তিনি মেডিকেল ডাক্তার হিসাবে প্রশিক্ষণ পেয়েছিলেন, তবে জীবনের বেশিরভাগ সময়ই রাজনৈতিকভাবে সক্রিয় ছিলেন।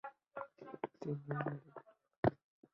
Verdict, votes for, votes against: rejected, 0, 2